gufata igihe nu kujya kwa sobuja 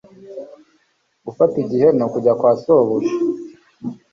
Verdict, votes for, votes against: accepted, 2, 0